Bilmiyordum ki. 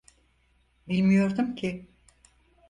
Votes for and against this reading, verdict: 4, 0, accepted